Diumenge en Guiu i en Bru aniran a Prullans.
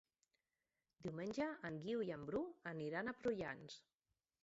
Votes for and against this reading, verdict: 3, 1, accepted